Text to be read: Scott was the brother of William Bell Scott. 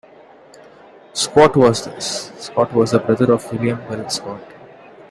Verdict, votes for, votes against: rejected, 1, 2